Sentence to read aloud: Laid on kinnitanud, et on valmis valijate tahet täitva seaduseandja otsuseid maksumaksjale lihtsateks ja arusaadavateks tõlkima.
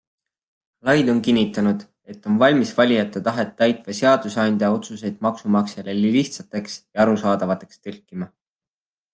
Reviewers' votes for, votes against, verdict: 2, 0, accepted